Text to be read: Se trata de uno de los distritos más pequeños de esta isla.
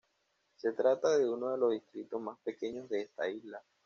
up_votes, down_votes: 2, 0